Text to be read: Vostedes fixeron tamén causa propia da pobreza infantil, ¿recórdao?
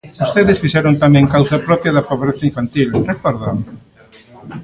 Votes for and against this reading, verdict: 2, 0, accepted